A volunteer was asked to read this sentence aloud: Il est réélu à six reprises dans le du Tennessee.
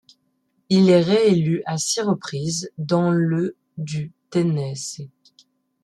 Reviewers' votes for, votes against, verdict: 1, 2, rejected